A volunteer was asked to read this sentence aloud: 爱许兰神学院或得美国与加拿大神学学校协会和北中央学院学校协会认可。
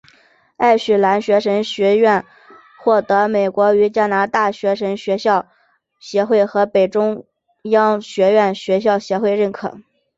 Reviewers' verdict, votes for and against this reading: accepted, 3, 0